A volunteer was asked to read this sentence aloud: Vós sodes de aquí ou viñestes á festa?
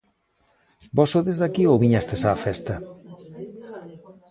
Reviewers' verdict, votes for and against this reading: rejected, 1, 2